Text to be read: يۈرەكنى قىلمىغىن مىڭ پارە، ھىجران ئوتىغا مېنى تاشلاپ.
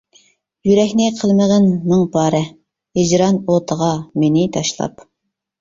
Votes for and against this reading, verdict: 2, 0, accepted